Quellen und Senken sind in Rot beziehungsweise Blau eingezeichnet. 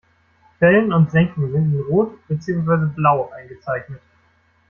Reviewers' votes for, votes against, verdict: 1, 2, rejected